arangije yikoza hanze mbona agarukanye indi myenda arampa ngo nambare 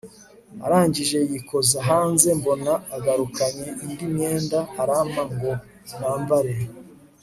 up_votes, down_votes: 3, 0